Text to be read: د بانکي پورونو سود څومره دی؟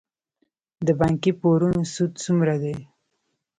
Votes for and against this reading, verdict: 1, 2, rejected